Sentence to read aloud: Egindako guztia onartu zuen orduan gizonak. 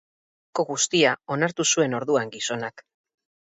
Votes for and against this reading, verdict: 0, 6, rejected